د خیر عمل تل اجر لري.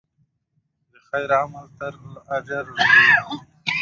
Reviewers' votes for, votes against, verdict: 0, 2, rejected